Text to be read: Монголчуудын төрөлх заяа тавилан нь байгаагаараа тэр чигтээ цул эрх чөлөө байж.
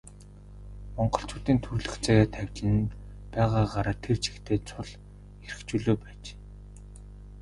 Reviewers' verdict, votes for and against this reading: rejected, 0, 2